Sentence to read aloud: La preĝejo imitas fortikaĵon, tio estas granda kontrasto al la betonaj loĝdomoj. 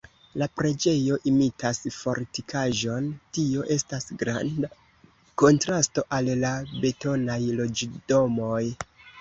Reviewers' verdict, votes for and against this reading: rejected, 0, 2